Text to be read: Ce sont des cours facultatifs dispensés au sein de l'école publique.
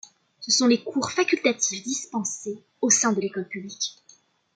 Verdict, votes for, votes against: rejected, 1, 2